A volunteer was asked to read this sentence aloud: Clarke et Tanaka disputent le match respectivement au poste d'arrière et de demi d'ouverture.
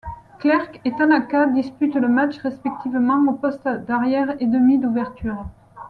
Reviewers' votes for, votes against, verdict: 1, 2, rejected